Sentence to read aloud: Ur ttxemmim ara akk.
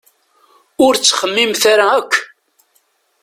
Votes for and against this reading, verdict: 1, 2, rejected